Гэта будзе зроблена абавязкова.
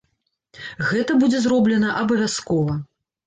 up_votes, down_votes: 2, 0